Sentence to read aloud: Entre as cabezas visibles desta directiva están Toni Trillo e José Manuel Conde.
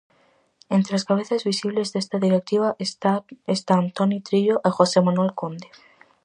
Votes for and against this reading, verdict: 0, 4, rejected